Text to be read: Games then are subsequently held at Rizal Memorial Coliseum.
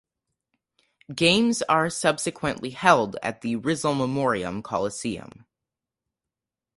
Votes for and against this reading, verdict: 2, 4, rejected